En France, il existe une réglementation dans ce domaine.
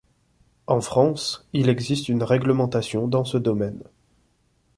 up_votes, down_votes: 2, 1